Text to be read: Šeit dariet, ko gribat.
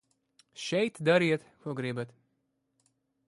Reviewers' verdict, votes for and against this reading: accepted, 2, 0